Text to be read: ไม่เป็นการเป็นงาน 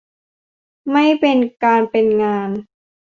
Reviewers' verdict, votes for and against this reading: accepted, 2, 0